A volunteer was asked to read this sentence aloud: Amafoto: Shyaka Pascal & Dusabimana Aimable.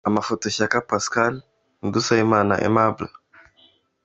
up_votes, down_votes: 2, 1